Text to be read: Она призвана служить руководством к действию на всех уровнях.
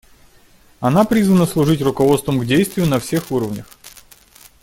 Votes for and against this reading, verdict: 2, 0, accepted